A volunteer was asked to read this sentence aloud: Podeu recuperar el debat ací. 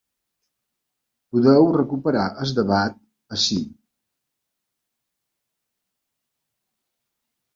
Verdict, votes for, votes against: rejected, 1, 2